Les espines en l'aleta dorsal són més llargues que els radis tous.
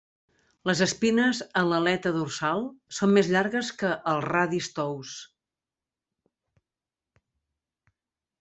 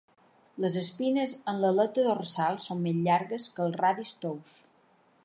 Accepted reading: first